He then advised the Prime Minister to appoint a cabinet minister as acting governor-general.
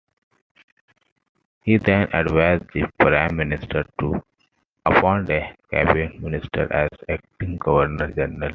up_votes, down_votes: 2, 1